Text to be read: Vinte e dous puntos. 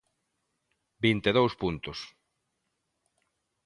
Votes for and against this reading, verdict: 2, 0, accepted